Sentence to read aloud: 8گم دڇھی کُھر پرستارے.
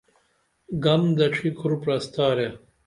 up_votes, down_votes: 0, 2